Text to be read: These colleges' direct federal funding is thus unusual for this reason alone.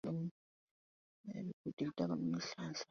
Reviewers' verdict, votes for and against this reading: rejected, 0, 2